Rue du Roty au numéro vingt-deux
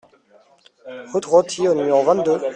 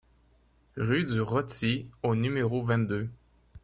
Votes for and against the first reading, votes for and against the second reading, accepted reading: 0, 2, 2, 0, second